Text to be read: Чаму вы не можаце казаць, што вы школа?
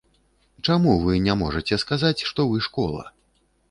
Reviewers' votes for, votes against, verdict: 1, 2, rejected